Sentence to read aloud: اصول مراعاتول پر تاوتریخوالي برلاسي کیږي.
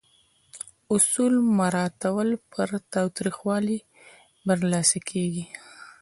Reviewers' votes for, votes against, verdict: 2, 0, accepted